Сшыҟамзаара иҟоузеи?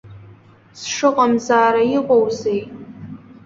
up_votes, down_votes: 2, 0